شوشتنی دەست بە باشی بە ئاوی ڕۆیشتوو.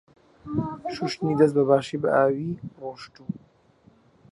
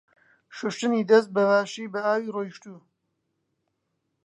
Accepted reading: second